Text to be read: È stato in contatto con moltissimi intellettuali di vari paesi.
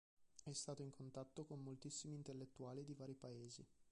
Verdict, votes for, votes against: rejected, 0, 2